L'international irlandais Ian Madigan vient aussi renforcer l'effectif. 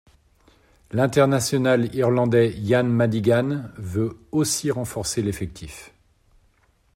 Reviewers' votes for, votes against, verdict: 0, 2, rejected